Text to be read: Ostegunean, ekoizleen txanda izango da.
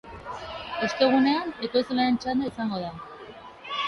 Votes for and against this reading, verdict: 1, 2, rejected